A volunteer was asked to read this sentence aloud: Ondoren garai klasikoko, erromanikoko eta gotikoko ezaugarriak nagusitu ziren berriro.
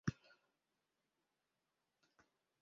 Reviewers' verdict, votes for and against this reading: rejected, 0, 3